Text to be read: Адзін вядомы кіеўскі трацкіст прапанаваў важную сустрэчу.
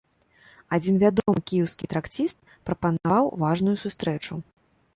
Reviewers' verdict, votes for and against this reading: rejected, 1, 2